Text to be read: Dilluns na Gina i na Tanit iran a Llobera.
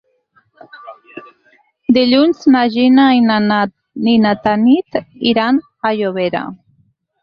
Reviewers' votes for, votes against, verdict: 0, 4, rejected